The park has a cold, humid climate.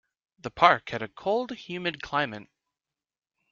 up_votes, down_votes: 1, 2